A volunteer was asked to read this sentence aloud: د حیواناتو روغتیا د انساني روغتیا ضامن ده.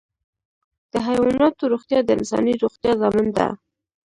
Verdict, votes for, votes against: rejected, 0, 2